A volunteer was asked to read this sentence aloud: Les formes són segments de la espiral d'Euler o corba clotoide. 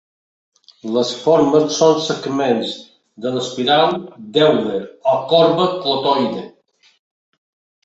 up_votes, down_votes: 0, 2